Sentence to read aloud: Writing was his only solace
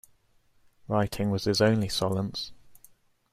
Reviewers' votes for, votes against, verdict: 0, 2, rejected